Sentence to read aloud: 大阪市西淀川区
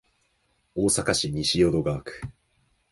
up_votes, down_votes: 4, 0